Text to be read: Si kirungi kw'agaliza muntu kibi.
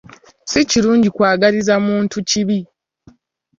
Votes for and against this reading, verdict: 2, 0, accepted